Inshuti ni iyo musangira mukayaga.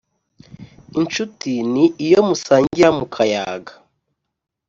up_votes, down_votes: 2, 0